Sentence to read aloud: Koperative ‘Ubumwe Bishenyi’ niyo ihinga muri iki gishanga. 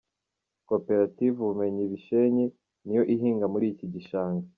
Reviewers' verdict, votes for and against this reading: rejected, 1, 2